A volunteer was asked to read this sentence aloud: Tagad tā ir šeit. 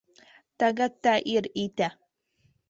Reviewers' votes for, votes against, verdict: 0, 2, rejected